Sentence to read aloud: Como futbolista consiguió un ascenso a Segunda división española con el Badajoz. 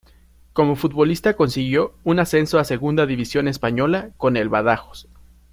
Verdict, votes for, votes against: rejected, 1, 2